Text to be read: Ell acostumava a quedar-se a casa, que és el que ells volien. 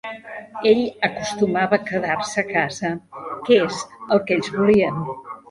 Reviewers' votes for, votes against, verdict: 1, 2, rejected